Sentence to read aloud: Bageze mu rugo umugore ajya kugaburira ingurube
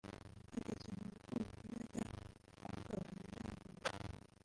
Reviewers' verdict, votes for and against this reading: rejected, 1, 3